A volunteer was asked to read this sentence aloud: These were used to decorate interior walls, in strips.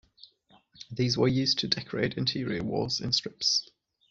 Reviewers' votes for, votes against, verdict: 2, 0, accepted